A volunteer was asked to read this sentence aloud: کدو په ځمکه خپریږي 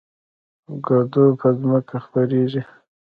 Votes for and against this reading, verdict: 2, 0, accepted